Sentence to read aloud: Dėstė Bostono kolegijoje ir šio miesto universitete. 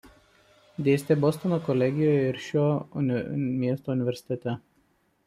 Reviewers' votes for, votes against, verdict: 1, 2, rejected